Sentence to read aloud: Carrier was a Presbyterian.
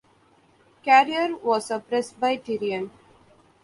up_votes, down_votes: 2, 1